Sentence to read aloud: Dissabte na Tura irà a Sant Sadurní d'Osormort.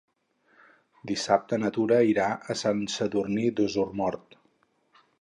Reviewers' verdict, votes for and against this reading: accepted, 2, 0